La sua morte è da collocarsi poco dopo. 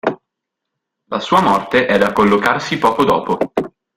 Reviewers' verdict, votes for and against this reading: accepted, 2, 0